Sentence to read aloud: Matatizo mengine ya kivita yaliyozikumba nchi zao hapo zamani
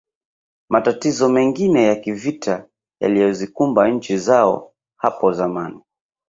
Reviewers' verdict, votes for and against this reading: rejected, 1, 2